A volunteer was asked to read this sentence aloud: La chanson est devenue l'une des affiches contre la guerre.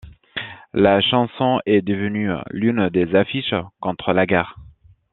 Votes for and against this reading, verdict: 2, 0, accepted